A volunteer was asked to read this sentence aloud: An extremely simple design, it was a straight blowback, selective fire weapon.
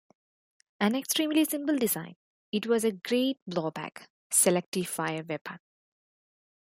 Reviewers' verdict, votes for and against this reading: rejected, 0, 2